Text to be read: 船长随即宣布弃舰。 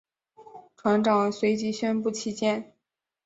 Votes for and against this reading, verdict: 3, 0, accepted